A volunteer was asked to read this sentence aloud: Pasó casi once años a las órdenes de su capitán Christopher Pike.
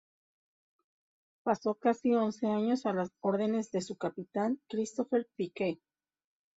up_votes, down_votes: 2, 0